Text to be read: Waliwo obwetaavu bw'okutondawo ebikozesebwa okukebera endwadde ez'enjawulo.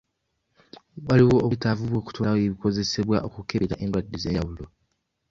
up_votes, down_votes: 1, 2